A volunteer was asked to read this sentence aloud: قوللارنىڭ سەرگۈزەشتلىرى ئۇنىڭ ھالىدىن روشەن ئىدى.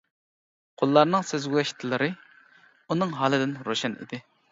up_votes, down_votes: 0, 2